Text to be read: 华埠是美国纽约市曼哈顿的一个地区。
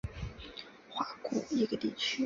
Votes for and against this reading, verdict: 1, 2, rejected